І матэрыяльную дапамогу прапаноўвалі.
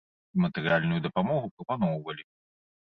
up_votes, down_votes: 1, 2